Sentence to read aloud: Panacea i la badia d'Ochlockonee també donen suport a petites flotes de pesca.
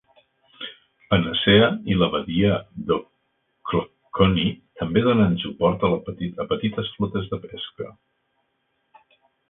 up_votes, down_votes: 0, 2